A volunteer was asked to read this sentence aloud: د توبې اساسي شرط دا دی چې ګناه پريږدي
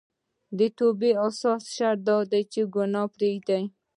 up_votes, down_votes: 2, 0